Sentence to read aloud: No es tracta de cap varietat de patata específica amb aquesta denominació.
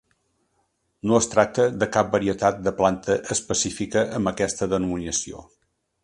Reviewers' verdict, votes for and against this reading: rejected, 1, 3